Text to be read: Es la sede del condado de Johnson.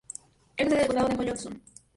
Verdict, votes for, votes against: rejected, 0, 2